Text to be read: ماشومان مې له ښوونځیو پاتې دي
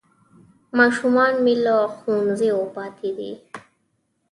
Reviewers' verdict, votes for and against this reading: accepted, 2, 0